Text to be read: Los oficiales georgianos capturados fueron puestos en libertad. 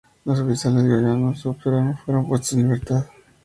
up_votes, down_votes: 0, 2